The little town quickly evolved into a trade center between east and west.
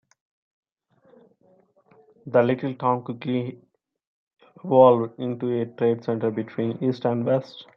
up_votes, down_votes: 0, 2